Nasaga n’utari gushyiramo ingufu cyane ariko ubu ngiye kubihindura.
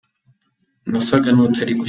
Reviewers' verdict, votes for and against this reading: rejected, 0, 3